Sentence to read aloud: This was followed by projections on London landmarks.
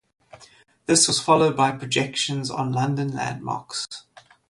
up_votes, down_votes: 0, 2